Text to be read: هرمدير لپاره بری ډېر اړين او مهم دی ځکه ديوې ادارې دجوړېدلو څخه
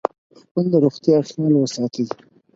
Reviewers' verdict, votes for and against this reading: rejected, 0, 4